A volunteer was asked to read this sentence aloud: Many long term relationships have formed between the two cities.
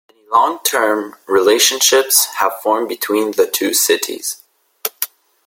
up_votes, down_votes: 2, 1